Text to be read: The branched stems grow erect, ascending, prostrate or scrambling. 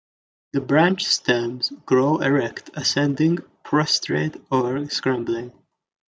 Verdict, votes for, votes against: accepted, 2, 0